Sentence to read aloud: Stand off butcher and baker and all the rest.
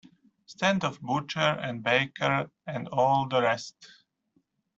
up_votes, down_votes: 2, 0